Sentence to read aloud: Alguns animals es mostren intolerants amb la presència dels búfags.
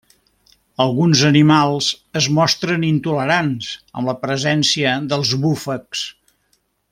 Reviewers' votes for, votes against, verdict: 2, 0, accepted